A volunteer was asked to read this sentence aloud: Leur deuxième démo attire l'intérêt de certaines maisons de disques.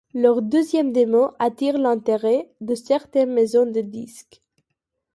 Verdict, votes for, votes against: accepted, 2, 0